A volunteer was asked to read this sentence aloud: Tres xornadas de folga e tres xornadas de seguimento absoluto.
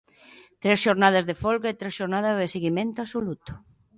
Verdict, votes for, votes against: accepted, 2, 0